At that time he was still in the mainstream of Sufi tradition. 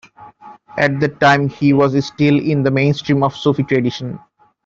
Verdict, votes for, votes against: rejected, 1, 2